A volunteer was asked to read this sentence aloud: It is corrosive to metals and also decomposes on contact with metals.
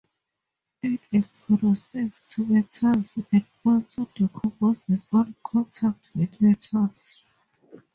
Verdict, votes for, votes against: accepted, 2, 0